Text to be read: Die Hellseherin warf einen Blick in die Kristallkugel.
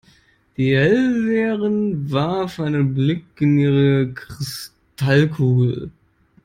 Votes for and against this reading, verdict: 0, 2, rejected